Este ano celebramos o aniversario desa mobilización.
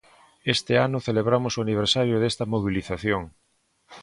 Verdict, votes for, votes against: rejected, 1, 3